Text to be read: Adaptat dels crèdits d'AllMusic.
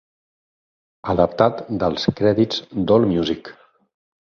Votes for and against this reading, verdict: 8, 0, accepted